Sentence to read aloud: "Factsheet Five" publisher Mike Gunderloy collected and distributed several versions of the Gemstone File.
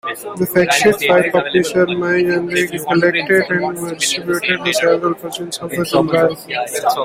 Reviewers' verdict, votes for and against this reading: rejected, 0, 2